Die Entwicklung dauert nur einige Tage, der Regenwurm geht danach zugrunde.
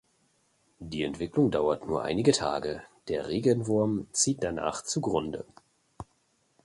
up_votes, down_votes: 1, 2